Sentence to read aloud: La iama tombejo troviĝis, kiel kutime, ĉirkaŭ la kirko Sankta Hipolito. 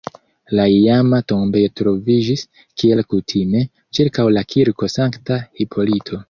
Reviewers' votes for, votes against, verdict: 1, 2, rejected